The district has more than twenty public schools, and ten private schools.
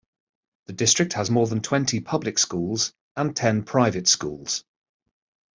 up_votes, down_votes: 2, 0